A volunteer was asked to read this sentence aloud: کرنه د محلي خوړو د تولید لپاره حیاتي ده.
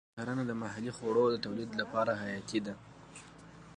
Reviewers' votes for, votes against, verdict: 2, 0, accepted